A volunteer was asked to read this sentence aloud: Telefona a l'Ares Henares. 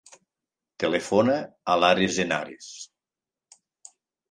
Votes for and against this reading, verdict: 2, 0, accepted